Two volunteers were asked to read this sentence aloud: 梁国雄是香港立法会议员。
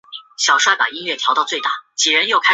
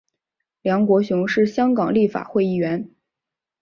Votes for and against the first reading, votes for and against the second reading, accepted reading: 0, 5, 4, 0, second